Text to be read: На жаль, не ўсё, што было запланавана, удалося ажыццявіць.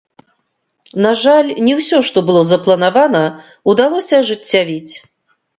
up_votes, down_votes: 1, 2